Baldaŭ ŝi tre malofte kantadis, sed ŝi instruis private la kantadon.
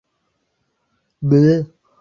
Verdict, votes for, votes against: rejected, 0, 2